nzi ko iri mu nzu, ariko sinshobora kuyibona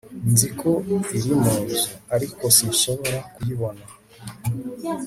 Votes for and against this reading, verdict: 3, 0, accepted